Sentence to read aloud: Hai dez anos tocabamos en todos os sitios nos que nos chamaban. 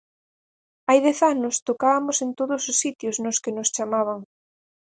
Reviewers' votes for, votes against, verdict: 2, 4, rejected